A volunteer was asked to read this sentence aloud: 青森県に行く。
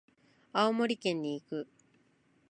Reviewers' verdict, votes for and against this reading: accepted, 2, 0